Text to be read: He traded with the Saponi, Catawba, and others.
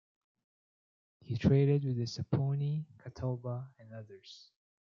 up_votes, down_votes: 2, 0